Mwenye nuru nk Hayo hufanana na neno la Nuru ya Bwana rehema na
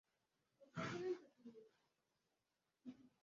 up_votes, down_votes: 3, 13